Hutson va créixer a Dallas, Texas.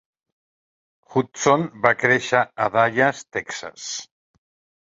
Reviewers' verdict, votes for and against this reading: rejected, 1, 2